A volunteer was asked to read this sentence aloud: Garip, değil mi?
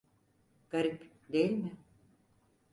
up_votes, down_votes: 4, 0